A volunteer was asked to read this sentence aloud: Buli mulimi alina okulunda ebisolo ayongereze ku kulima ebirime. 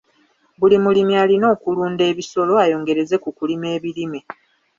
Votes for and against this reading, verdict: 2, 0, accepted